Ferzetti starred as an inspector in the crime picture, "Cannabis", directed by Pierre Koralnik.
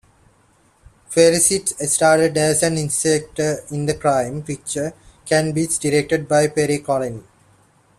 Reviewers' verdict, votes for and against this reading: rejected, 1, 2